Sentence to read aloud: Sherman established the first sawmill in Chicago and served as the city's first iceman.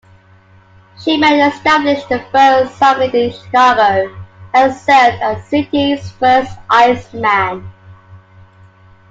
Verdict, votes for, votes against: rejected, 1, 2